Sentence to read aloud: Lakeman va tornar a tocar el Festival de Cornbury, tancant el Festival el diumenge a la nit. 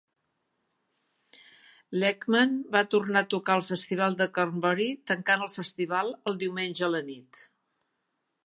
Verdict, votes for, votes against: accepted, 2, 0